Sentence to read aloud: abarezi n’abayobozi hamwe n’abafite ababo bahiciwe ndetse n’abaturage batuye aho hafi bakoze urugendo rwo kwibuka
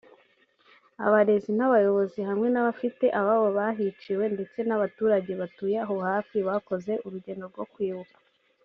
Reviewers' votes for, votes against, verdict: 2, 0, accepted